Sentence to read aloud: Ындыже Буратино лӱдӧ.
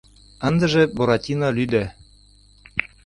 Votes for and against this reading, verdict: 2, 0, accepted